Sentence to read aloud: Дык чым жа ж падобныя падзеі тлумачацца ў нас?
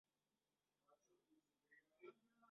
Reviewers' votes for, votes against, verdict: 0, 2, rejected